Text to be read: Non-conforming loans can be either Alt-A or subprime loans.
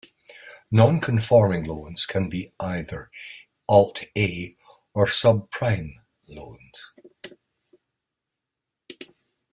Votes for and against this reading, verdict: 2, 0, accepted